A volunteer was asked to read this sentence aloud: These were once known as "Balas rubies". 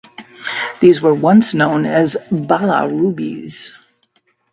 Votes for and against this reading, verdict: 0, 2, rejected